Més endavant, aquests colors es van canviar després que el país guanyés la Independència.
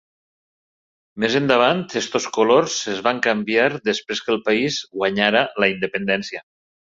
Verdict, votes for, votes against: rejected, 1, 2